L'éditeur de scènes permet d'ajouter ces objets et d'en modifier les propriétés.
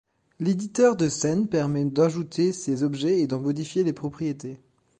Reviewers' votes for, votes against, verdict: 2, 0, accepted